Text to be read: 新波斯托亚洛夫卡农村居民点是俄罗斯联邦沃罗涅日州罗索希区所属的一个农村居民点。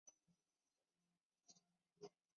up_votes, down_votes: 0, 7